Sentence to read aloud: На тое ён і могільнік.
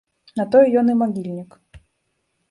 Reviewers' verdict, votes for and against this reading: rejected, 0, 2